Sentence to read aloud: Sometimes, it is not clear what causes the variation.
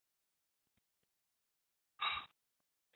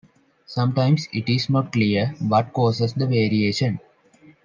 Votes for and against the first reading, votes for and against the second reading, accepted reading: 0, 2, 2, 0, second